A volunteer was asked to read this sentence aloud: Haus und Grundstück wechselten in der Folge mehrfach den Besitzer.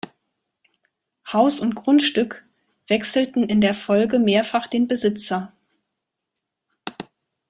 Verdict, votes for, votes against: rejected, 1, 2